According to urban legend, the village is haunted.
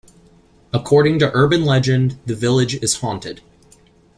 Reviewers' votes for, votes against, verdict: 2, 0, accepted